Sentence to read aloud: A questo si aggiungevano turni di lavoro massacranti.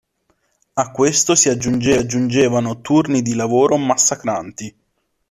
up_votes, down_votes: 0, 2